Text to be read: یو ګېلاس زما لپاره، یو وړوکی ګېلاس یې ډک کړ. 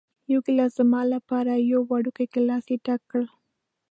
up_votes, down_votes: 2, 0